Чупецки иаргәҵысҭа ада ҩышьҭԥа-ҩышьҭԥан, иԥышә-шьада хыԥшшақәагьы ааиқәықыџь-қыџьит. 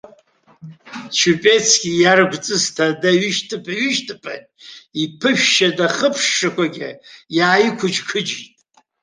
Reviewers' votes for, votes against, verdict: 2, 0, accepted